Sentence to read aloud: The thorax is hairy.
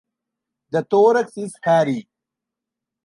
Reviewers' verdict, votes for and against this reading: rejected, 0, 2